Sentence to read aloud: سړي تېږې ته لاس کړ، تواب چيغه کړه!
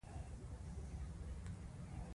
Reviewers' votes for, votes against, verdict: 2, 0, accepted